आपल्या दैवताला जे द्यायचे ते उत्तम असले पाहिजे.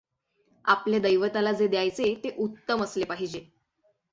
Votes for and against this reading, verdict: 6, 0, accepted